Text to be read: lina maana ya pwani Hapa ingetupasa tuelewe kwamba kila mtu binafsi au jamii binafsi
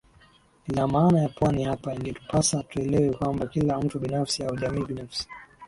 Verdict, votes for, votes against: accepted, 2, 0